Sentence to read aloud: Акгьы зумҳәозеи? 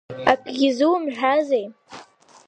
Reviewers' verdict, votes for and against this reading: rejected, 1, 2